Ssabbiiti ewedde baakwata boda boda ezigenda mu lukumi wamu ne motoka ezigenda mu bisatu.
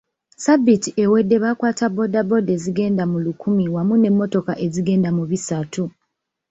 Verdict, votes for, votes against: accepted, 2, 0